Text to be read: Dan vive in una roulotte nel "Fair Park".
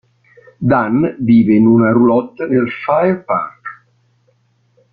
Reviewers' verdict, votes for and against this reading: rejected, 1, 2